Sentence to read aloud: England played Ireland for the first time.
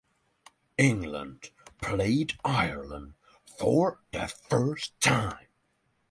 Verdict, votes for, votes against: accepted, 6, 0